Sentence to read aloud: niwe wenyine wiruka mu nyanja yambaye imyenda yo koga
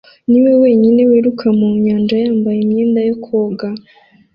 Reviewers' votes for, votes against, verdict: 2, 0, accepted